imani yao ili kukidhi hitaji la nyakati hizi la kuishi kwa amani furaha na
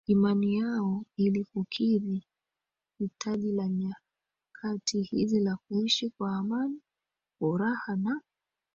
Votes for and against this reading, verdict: 2, 1, accepted